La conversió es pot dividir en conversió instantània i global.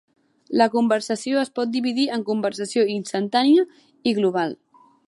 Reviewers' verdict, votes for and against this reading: rejected, 0, 2